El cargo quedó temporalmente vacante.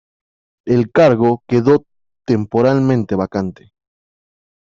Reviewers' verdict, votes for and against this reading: rejected, 1, 2